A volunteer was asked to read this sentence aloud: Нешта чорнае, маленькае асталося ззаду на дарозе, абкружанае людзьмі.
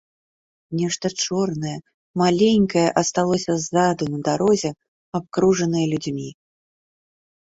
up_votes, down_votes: 2, 0